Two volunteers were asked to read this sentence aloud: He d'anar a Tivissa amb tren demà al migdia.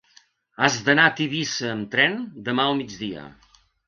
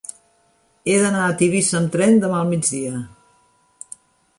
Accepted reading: second